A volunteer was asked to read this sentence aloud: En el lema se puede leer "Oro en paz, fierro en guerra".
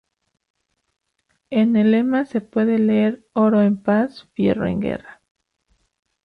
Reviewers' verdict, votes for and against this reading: accepted, 2, 0